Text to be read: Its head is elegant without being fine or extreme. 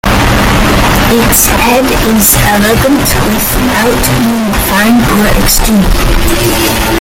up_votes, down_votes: 0, 2